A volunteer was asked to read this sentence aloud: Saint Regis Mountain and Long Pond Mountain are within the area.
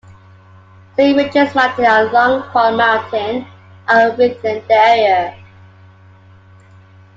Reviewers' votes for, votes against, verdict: 2, 1, accepted